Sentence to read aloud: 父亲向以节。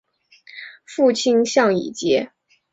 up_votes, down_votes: 4, 0